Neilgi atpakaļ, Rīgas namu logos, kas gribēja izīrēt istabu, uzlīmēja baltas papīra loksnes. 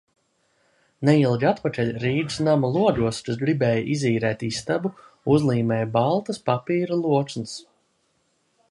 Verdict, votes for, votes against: accepted, 2, 0